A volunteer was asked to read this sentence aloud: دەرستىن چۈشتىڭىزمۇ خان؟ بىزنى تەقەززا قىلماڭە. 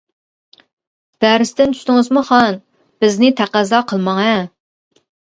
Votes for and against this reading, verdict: 2, 0, accepted